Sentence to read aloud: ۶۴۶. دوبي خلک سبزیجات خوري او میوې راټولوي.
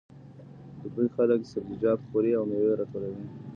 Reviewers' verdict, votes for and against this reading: rejected, 0, 2